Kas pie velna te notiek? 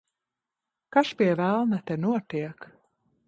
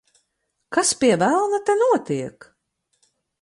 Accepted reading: second